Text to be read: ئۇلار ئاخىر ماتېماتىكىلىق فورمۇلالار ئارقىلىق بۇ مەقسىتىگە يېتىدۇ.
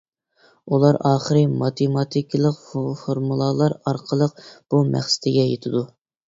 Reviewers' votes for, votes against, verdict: 1, 2, rejected